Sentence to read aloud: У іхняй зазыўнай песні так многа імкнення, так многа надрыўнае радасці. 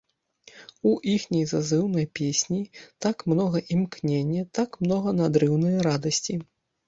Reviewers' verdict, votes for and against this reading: accepted, 2, 0